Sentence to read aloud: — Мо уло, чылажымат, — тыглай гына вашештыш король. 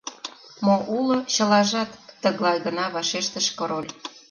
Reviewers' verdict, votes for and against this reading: rejected, 1, 2